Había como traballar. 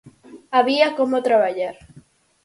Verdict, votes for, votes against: accepted, 4, 0